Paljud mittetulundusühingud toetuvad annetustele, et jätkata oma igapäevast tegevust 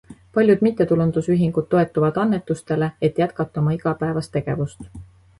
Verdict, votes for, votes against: accepted, 2, 0